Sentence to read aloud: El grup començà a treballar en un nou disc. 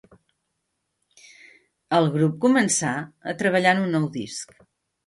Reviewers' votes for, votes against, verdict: 5, 0, accepted